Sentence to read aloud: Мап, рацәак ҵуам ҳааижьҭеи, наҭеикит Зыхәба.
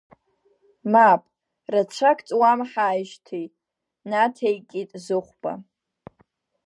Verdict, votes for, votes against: rejected, 0, 2